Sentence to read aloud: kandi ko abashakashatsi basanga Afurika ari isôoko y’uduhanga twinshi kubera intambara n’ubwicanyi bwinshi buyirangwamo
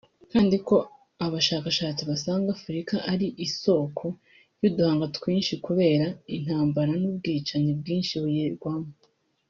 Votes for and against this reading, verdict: 1, 2, rejected